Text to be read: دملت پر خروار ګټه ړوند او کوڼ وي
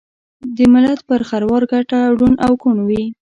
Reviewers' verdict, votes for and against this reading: accepted, 2, 0